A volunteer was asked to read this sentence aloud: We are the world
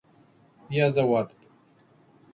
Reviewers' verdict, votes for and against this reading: rejected, 1, 2